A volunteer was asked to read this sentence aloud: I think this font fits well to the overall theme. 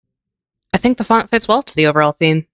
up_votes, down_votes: 1, 2